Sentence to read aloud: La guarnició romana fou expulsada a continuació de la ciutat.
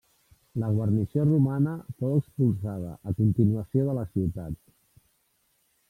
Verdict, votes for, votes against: accepted, 2, 1